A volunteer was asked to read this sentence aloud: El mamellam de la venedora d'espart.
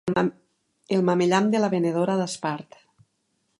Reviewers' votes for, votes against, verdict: 0, 3, rejected